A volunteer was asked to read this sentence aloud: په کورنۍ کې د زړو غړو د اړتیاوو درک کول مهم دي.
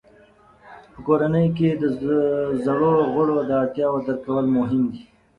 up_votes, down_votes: 1, 2